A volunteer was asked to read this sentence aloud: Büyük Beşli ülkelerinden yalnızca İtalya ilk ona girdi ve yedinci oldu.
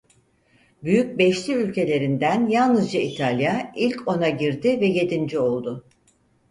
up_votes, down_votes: 4, 0